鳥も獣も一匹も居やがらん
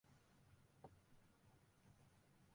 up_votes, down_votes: 0, 3